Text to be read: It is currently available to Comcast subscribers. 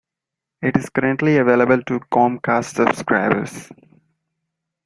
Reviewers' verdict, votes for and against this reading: accepted, 2, 1